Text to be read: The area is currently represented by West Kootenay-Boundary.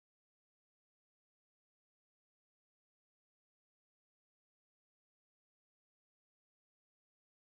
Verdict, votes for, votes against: rejected, 0, 2